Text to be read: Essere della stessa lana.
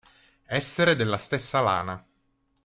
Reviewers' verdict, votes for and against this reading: accepted, 3, 0